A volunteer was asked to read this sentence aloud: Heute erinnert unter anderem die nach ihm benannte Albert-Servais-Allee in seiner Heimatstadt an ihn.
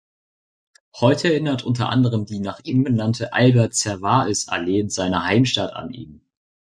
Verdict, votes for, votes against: accepted, 2, 0